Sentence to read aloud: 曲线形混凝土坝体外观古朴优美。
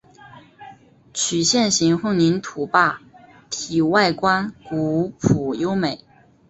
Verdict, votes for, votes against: accepted, 2, 1